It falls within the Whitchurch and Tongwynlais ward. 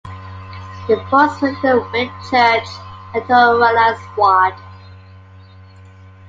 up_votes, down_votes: 2, 0